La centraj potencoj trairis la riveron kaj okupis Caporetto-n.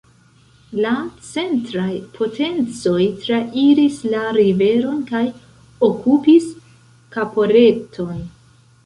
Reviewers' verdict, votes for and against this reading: rejected, 0, 2